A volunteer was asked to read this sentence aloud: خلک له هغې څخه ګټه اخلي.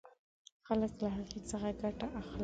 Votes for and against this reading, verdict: 1, 2, rejected